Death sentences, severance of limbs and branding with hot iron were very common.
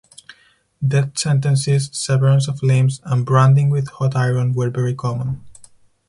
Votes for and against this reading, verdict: 4, 0, accepted